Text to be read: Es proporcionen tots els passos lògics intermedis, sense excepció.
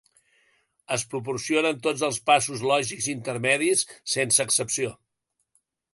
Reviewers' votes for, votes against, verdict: 2, 0, accepted